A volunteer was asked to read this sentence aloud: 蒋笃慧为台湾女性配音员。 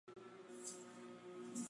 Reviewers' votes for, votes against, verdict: 2, 0, accepted